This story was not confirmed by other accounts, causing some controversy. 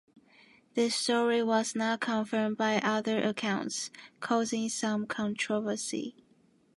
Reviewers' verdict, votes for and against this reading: accepted, 2, 0